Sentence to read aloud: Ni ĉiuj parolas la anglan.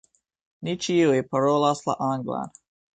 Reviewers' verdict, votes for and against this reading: accepted, 3, 0